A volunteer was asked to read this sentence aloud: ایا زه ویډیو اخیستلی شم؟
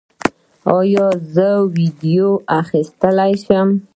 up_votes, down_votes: 0, 2